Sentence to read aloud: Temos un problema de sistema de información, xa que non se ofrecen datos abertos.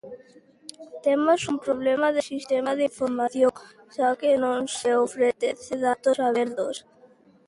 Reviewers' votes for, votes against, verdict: 0, 2, rejected